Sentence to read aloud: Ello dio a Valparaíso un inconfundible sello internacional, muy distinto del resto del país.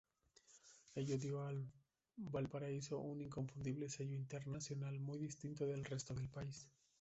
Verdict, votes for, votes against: rejected, 0, 2